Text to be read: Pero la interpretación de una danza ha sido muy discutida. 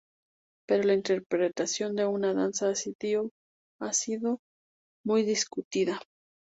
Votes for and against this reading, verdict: 0, 2, rejected